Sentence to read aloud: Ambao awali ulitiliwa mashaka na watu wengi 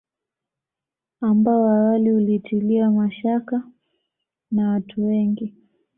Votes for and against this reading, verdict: 0, 2, rejected